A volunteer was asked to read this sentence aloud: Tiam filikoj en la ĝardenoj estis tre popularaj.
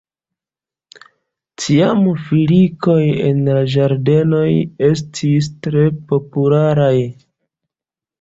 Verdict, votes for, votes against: rejected, 0, 2